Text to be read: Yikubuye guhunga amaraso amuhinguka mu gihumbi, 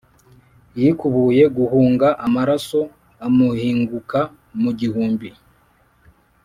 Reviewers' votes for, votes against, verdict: 2, 0, accepted